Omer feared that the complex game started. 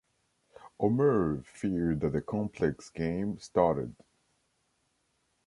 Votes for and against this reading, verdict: 2, 0, accepted